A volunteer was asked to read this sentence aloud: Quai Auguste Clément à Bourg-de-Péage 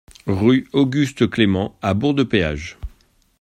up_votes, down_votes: 0, 2